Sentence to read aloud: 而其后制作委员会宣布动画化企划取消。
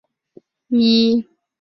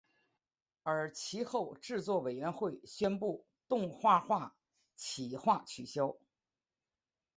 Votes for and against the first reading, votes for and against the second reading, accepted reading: 0, 2, 4, 1, second